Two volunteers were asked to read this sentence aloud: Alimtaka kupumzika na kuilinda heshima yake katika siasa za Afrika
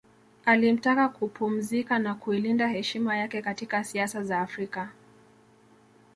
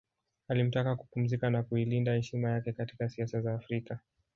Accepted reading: first